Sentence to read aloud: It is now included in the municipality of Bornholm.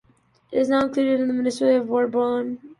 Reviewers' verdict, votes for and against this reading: rejected, 0, 2